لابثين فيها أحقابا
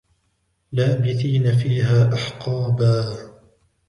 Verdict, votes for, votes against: rejected, 0, 2